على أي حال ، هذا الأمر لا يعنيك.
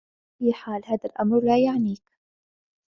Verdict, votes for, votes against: accepted, 2, 0